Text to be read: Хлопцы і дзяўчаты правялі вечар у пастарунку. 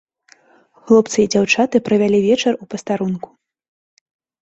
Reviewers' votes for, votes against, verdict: 2, 0, accepted